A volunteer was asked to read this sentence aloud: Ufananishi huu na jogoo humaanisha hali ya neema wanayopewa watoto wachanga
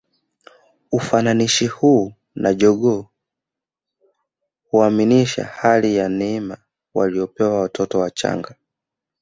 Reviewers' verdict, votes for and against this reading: rejected, 1, 3